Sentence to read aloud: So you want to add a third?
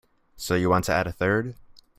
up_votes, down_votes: 3, 0